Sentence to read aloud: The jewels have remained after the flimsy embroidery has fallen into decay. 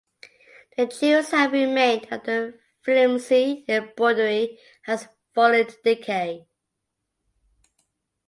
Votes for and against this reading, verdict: 3, 2, accepted